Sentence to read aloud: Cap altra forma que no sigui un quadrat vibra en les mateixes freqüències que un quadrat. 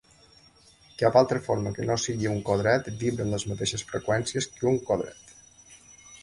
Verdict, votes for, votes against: rejected, 0, 2